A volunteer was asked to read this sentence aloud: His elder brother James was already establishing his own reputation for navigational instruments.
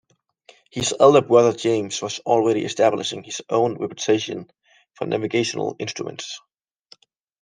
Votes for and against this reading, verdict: 2, 0, accepted